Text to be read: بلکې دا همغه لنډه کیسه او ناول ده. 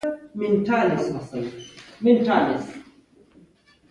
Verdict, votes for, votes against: rejected, 1, 2